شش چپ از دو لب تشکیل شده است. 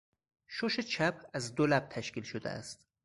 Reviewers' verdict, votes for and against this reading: rejected, 2, 4